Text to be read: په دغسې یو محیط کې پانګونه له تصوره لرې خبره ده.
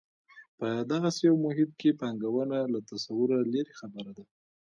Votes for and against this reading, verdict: 2, 0, accepted